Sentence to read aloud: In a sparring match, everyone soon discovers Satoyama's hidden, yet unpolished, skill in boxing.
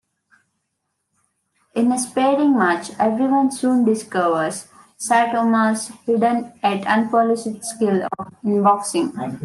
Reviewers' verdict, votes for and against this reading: rejected, 0, 2